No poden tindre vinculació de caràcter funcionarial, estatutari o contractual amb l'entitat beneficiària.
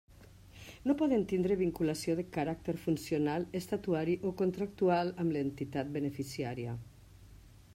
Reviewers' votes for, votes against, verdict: 1, 2, rejected